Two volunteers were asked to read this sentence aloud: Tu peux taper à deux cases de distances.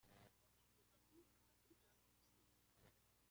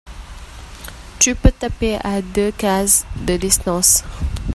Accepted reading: second